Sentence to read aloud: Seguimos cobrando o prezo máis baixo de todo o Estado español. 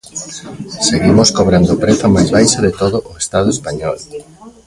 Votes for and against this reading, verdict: 0, 2, rejected